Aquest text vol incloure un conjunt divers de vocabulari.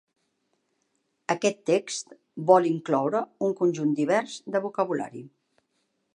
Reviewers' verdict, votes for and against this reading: accepted, 3, 0